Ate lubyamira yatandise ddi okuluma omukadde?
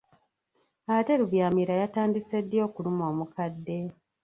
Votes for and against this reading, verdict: 1, 2, rejected